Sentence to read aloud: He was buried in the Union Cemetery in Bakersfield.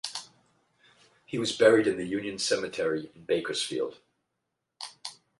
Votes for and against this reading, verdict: 8, 0, accepted